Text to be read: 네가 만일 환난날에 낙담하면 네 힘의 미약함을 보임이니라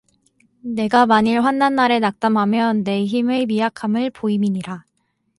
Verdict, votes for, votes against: accepted, 4, 0